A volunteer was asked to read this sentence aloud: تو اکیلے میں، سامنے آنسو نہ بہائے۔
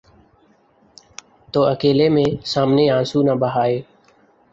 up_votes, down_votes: 2, 0